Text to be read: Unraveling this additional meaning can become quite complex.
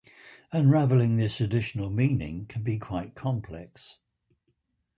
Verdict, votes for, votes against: accepted, 4, 0